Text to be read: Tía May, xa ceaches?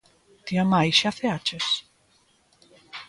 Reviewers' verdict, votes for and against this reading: accepted, 3, 0